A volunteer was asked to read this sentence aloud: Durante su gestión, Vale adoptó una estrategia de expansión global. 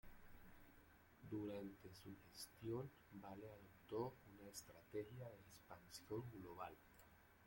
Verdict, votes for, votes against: rejected, 0, 2